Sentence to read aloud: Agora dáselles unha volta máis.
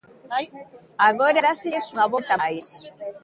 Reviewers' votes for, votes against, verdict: 0, 2, rejected